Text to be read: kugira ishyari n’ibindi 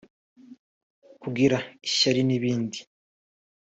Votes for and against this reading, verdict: 2, 0, accepted